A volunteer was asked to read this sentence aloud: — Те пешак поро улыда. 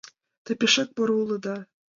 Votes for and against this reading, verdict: 2, 0, accepted